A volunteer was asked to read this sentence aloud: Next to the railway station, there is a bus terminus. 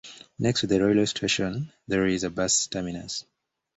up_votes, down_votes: 1, 2